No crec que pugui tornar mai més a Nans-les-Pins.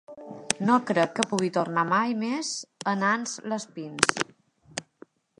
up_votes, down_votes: 2, 1